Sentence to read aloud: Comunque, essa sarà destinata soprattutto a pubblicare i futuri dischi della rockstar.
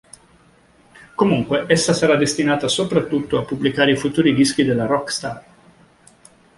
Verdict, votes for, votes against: accepted, 2, 0